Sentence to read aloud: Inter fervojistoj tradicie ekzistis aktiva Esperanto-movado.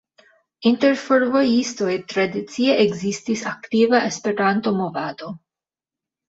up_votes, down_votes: 2, 1